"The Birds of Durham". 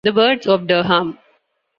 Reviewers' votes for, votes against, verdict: 0, 2, rejected